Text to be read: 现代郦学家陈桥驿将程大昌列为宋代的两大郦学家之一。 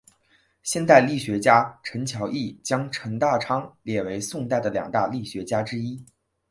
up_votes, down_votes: 2, 0